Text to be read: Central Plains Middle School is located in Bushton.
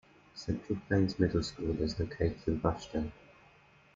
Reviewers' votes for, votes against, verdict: 1, 2, rejected